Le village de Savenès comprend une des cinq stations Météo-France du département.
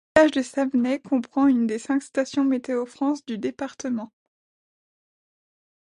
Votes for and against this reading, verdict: 0, 2, rejected